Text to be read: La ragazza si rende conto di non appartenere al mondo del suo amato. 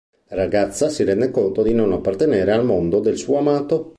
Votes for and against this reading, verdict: 1, 2, rejected